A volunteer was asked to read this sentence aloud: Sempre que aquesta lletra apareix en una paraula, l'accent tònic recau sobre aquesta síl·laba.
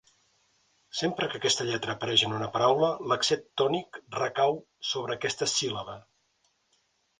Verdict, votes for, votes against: accepted, 3, 1